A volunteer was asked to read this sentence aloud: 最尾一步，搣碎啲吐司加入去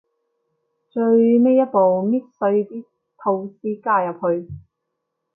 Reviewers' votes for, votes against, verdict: 2, 1, accepted